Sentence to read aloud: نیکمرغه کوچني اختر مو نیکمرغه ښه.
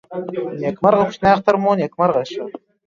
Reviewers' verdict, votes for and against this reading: accepted, 2, 0